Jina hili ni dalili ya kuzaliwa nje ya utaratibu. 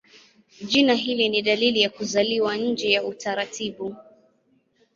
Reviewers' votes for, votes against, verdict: 1, 2, rejected